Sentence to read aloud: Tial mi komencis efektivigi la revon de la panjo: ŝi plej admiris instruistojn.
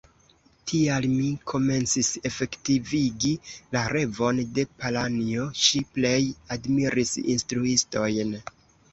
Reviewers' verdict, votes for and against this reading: rejected, 0, 2